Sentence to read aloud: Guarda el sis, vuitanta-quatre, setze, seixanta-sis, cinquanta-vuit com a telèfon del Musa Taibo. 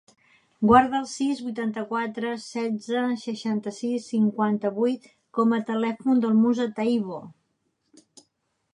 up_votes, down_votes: 3, 0